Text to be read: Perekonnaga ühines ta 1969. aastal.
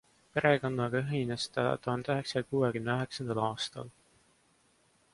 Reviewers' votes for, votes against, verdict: 0, 2, rejected